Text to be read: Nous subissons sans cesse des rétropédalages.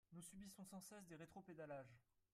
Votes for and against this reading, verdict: 2, 3, rejected